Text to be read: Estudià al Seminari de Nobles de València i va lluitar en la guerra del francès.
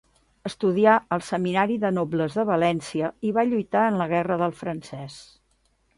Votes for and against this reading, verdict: 2, 0, accepted